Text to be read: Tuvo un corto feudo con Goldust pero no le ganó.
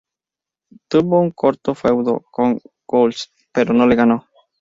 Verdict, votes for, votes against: accepted, 4, 0